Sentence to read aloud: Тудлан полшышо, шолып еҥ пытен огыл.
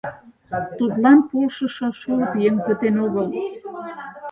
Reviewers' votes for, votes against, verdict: 2, 4, rejected